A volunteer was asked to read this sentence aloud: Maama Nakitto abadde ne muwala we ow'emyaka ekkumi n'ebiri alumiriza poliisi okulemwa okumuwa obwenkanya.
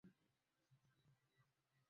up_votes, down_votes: 0, 2